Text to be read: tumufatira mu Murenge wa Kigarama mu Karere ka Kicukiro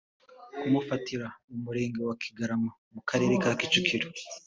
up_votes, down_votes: 2, 1